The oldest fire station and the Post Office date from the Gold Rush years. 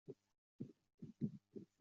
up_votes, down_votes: 0, 2